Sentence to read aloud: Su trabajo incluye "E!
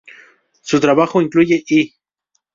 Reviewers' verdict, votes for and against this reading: rejected, 0, 2